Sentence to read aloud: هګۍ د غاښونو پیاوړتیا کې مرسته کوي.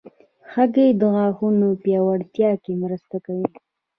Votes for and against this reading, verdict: 1, 2, rejected